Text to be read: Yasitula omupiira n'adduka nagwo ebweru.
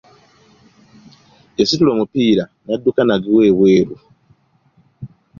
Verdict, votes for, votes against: accepted, 2, 0